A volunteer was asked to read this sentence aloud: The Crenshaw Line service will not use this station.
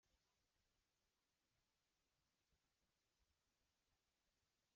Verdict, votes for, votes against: rejected, 0, 2